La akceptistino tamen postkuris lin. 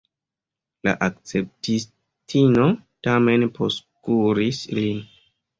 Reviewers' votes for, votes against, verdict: 1, 2, rejected